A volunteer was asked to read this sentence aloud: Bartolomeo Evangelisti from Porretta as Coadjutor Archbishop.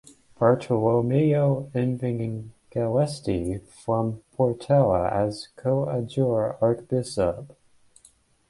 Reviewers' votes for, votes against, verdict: 0, 2, rejected